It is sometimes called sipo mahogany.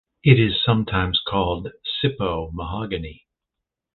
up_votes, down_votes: 2, 0